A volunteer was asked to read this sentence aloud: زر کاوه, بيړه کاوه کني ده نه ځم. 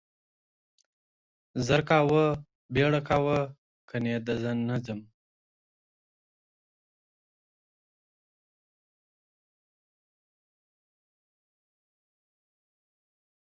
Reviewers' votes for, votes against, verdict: 1, 2, rejected